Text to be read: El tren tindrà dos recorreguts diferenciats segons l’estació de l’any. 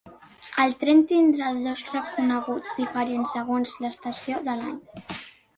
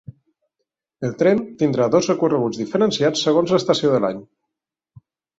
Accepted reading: second